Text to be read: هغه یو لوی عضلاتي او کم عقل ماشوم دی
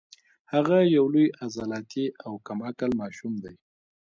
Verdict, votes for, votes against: rejected, 1, 2